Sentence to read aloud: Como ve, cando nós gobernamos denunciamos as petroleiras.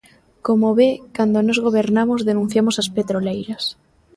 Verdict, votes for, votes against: accepted, 2, 0